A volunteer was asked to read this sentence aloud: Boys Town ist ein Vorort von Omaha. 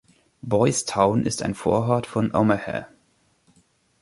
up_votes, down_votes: 1, 2